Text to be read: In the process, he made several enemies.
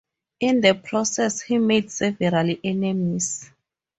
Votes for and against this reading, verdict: 2, 2, rejected